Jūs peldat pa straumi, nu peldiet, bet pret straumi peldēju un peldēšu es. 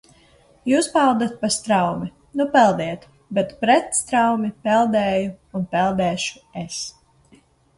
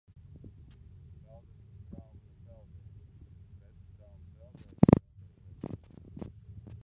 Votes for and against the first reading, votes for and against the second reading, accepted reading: 2, 0, 0, 3, first